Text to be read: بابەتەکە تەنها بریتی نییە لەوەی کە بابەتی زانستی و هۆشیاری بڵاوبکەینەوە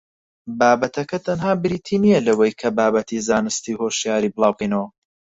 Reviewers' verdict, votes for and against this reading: accepted, 4, 2